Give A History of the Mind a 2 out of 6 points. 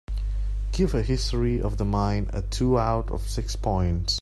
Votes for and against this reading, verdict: 0, 2, rejected